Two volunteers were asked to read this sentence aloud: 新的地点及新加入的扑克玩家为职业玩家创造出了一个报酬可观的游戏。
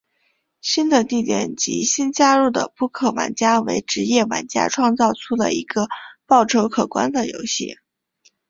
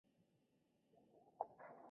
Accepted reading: first